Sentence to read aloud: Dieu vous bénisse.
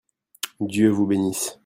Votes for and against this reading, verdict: 2, 0, accepted